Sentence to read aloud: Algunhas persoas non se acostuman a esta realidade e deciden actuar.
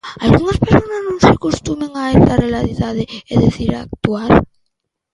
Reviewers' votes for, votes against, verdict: 0, 2, rejected